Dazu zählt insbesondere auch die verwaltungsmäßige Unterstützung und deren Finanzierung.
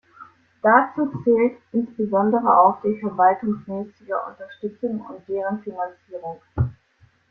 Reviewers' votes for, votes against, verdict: 2, 0, accepted